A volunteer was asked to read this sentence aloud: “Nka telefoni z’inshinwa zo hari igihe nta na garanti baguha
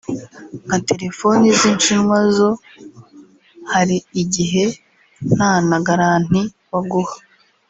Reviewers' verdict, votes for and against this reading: accepted, 4, 0